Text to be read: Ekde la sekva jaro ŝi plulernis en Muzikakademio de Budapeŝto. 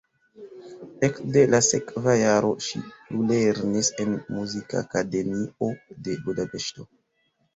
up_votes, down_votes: 1, 2